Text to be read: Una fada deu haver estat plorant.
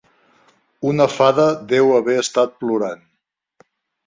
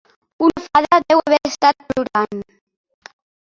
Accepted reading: first